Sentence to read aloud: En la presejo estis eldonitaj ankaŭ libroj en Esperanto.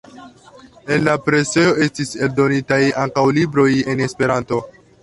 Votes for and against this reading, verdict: 2, 1, accepted